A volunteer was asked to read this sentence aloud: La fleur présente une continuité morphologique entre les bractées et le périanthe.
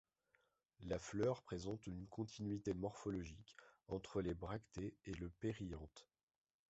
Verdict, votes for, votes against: accepted, 2, 0